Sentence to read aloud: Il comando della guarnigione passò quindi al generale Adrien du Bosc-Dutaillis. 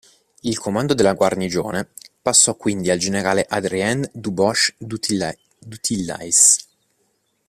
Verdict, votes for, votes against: rejected, 1, 2